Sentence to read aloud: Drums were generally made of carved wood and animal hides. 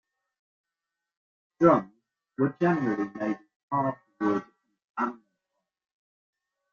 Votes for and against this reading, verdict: 0, 2, rejected